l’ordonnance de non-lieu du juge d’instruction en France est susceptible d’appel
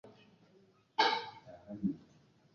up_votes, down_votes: 0, 2